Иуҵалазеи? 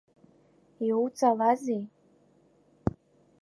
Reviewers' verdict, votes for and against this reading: accepted, 2, 1